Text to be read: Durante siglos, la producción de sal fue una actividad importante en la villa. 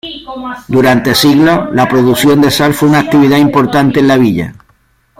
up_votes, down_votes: 2, 1